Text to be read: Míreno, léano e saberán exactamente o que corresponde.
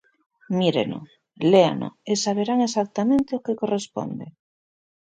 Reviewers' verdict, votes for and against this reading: accepted, 2, 0